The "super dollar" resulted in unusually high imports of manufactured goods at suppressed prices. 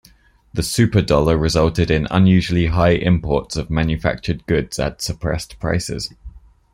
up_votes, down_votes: 2, 0